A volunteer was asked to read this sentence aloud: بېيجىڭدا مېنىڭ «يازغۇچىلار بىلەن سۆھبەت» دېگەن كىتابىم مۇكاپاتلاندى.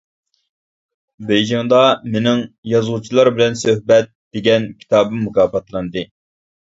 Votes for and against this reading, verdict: 2, 0, accepted